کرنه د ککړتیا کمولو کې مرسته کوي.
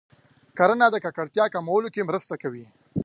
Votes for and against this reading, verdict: 2, 0, accepted